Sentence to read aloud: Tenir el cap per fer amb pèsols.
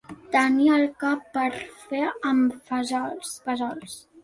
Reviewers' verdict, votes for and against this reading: rejected, 0, 2